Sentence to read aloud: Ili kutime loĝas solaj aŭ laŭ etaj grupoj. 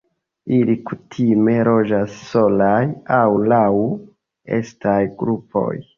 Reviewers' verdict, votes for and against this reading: rejected, 1, 2